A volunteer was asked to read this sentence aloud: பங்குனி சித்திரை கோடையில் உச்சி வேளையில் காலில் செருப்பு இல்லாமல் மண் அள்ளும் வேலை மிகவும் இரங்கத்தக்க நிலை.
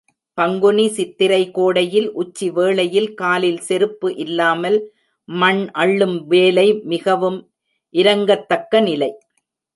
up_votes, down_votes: 2, 0